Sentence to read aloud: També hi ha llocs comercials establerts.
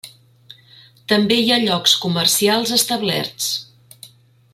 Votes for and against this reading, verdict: 3, 0, accepted